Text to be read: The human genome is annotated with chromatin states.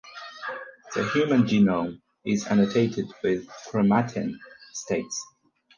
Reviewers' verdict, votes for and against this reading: accepted, 4, 0